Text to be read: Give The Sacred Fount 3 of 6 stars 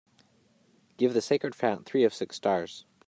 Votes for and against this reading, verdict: 0, 2, rejected